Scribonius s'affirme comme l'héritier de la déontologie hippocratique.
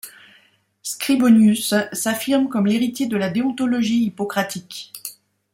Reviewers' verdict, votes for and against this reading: accepted, 2, 0